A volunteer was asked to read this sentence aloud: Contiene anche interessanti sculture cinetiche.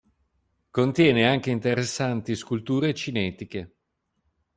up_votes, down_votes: 2, 0